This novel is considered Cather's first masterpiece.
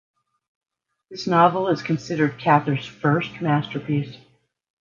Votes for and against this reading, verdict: 2, 0, accepted